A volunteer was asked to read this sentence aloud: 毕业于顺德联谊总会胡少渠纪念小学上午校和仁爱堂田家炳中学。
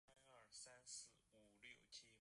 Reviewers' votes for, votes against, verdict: 0, 2, rejected